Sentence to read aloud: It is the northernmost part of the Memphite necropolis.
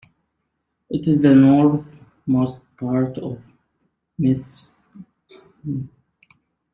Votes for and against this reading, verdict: 0, 2, rejected